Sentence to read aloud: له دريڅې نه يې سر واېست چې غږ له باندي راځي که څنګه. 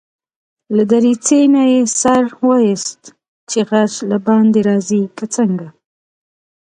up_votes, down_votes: 2, 0